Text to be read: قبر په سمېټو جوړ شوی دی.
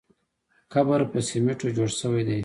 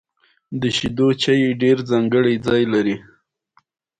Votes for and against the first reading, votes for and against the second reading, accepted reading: 2, 1, 0, 2, first